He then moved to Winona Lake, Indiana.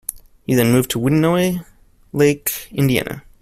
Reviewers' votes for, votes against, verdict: 0, 2, rejected